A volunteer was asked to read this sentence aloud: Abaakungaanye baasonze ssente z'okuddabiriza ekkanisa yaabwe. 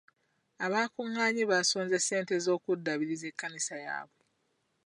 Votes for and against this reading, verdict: 2, 0, accepted